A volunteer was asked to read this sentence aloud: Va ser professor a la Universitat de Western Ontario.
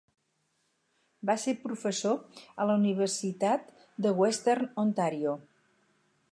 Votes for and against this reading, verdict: 6, 0, accepted